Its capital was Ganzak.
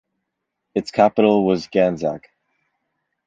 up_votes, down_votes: 2, 0